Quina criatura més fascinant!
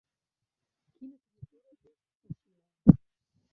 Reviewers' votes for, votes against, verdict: 0, 2, rejected